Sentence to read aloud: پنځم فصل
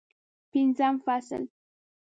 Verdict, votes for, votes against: accepted, 3, 0